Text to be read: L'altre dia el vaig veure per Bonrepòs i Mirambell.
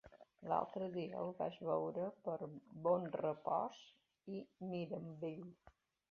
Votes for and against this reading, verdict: 2, 0, accepted